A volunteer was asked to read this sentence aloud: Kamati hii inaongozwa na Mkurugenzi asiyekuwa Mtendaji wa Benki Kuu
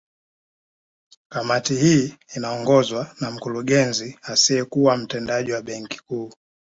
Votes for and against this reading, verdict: 2, 0, accepted